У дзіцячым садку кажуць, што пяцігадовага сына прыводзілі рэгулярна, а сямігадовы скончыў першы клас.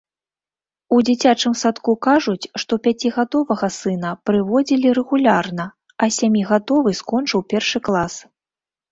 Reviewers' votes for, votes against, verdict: 2, 0, accepted